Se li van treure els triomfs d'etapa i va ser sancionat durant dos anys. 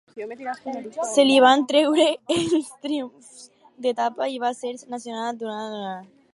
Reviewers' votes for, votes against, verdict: 0, 4, rejected